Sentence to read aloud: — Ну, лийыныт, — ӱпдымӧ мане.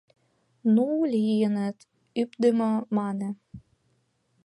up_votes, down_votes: 1, 2